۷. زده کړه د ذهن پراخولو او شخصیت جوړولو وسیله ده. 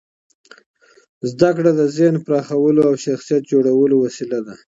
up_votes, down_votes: 0, 2